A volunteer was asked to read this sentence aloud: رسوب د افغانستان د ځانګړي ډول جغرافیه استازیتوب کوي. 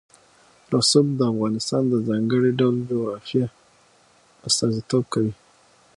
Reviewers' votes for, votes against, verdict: 6, 0, accepted